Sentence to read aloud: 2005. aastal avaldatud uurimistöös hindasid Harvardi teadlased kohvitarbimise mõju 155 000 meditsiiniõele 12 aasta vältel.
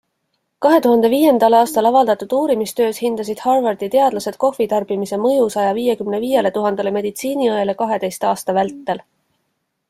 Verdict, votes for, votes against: rejected, 0, 2